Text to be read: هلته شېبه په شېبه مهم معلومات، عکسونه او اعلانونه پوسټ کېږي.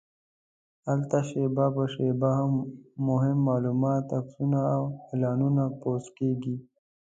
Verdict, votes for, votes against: accepted, 2, 0